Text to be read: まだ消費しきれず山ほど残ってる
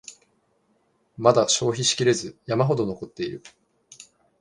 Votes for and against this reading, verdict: 1, 2, rejected